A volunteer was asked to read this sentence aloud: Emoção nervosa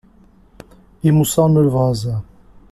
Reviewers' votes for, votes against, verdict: 2, 0, accepted